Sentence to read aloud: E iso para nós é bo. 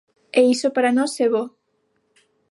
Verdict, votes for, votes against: accepted, 6, 0